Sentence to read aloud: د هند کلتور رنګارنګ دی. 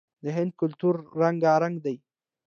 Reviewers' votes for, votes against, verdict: 2, 0, accepted